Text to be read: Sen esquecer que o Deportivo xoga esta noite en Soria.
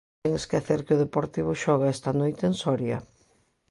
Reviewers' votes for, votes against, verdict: 1, 2, rejected